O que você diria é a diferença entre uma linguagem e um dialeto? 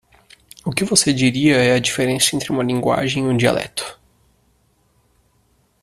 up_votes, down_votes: 1, 2